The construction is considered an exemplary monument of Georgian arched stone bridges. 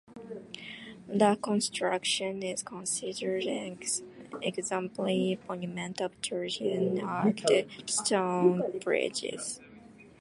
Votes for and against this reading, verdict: 0, 2, rejected